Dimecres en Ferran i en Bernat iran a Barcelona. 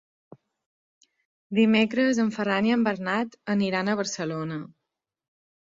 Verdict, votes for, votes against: rejected, 1, 2